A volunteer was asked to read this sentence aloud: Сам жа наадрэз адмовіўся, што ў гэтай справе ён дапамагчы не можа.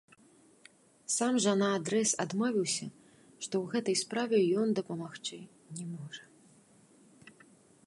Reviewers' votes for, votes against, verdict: 0, 2, rejected